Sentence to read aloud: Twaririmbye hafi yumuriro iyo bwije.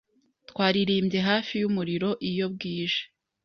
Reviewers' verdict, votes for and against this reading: accepted, 2, 0